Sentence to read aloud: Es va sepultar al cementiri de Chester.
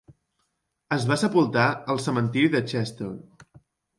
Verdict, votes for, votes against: accepted, 3, 0